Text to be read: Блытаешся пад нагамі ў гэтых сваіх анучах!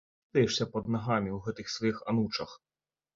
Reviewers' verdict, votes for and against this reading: rejected, 0, 2